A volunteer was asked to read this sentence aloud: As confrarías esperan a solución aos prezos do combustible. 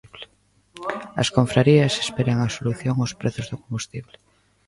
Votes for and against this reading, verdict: 1, 2, rejected